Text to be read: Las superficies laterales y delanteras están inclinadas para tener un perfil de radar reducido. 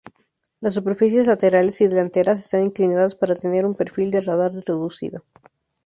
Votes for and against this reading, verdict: 0, 2, rejected